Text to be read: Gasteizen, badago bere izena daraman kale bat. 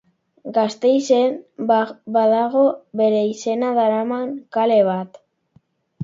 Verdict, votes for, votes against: rejected, 1, 2